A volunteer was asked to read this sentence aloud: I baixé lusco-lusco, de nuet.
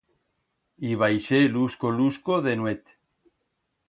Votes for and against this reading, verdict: 2, 0, accepted